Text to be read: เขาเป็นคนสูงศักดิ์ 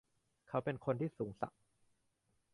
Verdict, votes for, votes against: rejected, 1, 2